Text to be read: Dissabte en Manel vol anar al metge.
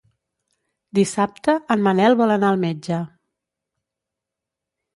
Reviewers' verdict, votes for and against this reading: accepted, 2, 0